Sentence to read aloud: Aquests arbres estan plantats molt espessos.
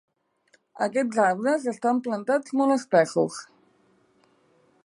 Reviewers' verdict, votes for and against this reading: accepted, 2, 0